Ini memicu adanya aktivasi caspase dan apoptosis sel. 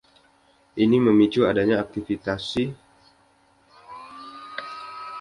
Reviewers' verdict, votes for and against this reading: rejected, 0, 2